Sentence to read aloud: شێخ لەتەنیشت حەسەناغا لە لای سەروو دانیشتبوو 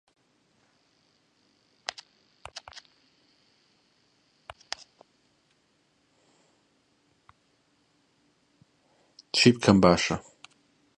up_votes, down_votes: 0, 2